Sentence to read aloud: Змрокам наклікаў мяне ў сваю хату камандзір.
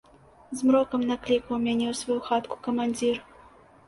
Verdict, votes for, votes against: rejected, 1, 2